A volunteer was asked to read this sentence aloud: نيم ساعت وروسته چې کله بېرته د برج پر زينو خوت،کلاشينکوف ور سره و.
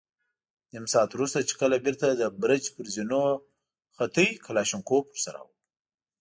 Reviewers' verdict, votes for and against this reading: accepted, 2, 0